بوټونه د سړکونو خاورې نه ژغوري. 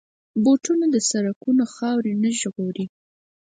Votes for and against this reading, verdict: 4, 0, accepted